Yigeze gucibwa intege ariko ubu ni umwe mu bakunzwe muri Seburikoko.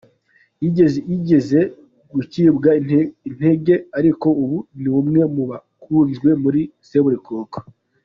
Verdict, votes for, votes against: rejected, 0, 2